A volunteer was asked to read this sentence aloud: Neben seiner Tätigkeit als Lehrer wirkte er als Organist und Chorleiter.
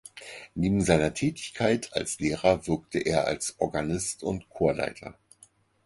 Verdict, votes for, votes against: accepted, 4, 0